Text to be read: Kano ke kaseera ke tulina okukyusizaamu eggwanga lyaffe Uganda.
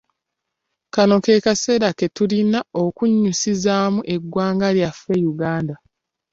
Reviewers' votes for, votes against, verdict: 1, 3, rejected